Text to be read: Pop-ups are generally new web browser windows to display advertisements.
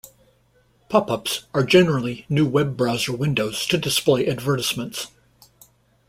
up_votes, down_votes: 2, 0